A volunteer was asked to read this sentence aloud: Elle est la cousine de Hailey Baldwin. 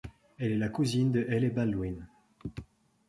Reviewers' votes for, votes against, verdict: 2, 0, accepted